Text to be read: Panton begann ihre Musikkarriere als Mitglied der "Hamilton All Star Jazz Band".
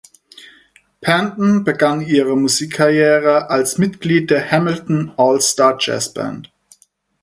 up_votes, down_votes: 4, 0